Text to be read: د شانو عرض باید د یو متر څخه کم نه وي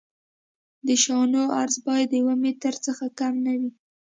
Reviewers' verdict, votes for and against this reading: accepted, 2, 0